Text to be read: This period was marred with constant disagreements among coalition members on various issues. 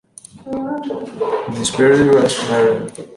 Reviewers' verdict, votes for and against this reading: rejected, 0, 2